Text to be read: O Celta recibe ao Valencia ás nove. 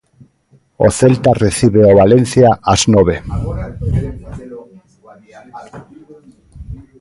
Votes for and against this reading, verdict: 1, 2, rejected